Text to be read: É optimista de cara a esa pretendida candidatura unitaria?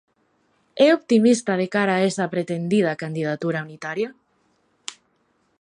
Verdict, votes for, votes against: accepted, 2, 1